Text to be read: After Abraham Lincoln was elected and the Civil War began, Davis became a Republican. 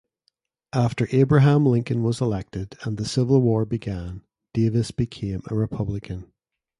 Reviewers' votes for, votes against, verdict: 2, 0, accepted